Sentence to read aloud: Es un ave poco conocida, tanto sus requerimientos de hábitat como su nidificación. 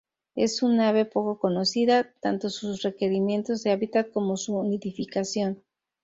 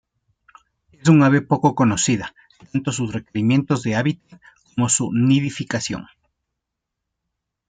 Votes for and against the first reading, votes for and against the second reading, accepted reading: 2, 0, 1, 2, first